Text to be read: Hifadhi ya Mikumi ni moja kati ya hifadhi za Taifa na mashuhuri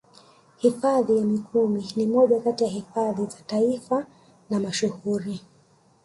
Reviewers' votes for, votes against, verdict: 1, 2, rejected